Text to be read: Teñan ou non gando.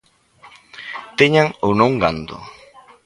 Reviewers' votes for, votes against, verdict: 2, 0, accepted